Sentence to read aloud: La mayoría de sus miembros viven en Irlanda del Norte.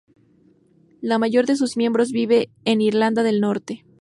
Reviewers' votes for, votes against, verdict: 0, 2, rejected